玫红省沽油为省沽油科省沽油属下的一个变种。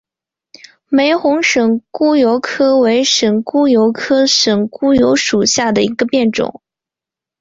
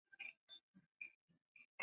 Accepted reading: first